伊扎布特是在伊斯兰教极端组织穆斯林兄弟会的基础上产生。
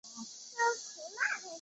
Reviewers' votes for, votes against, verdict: 0, 2, rejected